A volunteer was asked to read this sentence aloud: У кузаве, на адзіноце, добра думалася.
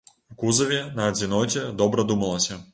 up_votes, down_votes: 1, 2